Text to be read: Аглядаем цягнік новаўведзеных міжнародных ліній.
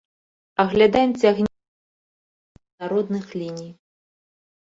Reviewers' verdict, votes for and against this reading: rejected, 0, 2